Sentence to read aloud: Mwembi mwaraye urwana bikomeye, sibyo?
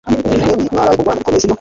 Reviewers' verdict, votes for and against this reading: rejected, 1, 2